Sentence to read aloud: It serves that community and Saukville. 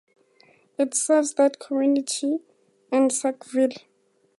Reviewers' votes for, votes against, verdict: 2, 0, accepted